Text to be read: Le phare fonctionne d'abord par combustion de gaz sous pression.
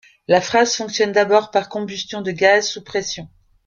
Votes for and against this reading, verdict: 0, 2, rejected